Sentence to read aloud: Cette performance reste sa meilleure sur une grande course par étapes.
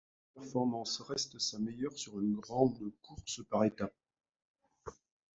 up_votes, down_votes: 1, 2